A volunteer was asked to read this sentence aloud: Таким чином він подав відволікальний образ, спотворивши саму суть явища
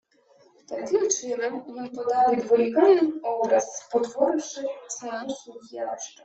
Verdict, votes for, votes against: rejected, 1, 2